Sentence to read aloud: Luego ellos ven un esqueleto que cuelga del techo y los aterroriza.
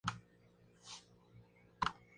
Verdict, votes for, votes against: rejected, 0, 4